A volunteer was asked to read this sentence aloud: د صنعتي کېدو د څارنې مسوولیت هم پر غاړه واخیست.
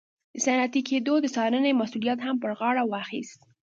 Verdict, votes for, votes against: rejected, 1, 2